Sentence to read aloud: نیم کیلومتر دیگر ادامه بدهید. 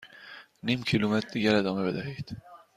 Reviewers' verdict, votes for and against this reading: accepted, 2, 0